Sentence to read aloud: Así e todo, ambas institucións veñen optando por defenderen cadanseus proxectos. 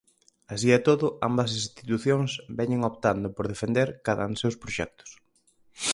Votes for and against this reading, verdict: 0, 4, rejected